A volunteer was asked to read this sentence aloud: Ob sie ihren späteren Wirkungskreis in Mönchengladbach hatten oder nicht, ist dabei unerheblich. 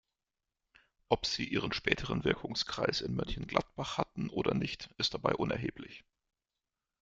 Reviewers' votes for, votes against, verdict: 0, 2, rejected